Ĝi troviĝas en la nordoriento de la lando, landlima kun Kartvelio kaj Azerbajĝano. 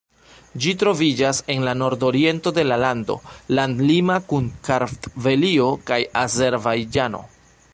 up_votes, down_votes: 2, 0